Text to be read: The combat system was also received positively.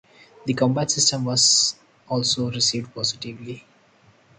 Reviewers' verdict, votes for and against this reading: accepted, 4, 2